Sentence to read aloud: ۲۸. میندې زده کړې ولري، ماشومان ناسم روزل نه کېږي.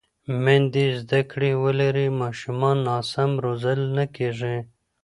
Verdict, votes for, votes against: rejected, 0, 2